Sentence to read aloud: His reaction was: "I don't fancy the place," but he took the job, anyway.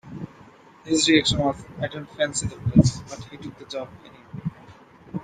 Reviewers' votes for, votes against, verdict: 2, 1, accepted